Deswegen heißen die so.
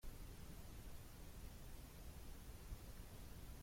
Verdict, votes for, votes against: rejected, 0, 2